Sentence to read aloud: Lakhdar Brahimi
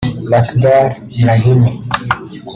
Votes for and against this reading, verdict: 0, 2, rejected